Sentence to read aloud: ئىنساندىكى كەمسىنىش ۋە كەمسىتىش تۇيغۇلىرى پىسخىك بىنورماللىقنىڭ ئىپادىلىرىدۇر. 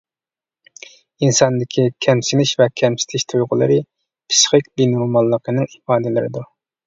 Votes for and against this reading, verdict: 0, 2, rejected